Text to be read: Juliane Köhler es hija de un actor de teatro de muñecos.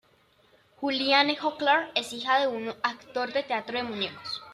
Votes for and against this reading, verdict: 2, 1, accepted